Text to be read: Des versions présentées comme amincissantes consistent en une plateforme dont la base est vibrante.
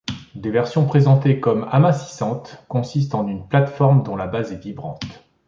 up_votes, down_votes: 2, 0